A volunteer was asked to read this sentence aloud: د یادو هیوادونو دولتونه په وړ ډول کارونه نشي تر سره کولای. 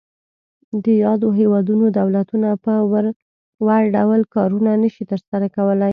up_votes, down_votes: 2, 0